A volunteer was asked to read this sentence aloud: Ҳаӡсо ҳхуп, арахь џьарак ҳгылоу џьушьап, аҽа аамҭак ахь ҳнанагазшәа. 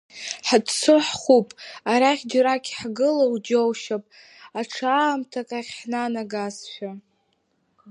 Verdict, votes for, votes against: rejected, 1, 3